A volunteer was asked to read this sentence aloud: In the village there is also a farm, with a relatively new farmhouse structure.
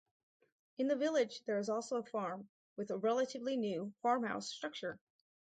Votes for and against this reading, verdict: 4, 0, accepted